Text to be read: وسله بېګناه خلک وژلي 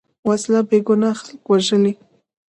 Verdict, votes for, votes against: accepted, 2, 1